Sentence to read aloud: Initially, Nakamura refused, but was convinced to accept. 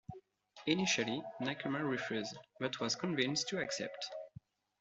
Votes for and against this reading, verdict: 2, 0, accepted